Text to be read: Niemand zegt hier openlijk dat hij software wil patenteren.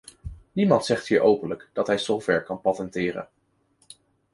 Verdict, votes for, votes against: rejected, 1, 2